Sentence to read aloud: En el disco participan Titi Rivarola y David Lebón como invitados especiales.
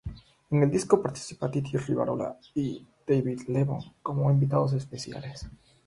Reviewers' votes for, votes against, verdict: 3, 3, rejected